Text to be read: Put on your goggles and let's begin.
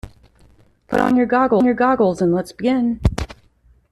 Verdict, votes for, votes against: rejected, 0, 2